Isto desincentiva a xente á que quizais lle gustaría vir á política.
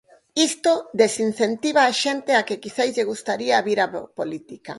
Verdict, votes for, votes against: rejected, 0, 4